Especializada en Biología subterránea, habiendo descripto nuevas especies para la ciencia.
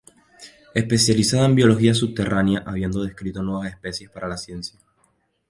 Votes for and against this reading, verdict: 0, 2, rejected